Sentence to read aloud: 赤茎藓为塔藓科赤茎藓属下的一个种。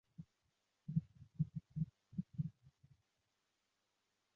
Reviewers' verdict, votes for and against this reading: rejected, 0, 2